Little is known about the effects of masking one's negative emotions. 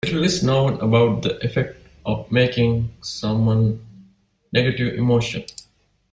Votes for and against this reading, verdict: 0, 2, rejected